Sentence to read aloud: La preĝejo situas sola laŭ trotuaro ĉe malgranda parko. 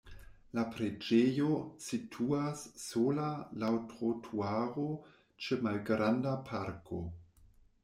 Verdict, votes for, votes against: accepted, 2, 0